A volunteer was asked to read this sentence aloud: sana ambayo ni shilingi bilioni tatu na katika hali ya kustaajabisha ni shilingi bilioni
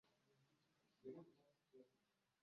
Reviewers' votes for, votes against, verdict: 0, 2, rejected